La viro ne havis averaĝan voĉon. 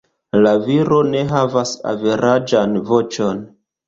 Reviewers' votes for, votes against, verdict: 1, 2, rejected